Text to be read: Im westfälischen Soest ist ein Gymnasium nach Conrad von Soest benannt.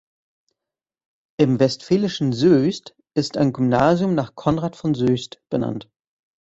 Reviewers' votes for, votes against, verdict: 1, 2, rejected